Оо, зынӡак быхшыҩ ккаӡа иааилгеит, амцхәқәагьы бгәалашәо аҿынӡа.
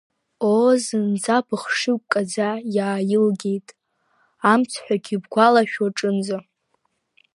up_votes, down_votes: 0, 2